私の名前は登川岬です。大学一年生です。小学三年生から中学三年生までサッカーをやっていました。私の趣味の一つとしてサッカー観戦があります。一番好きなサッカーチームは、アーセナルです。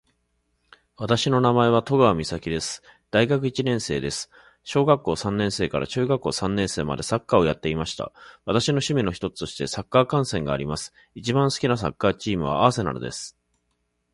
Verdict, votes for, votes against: accepted, 2, 0